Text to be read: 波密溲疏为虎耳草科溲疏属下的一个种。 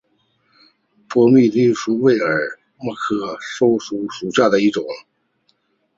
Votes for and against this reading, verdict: 0, 3, rejected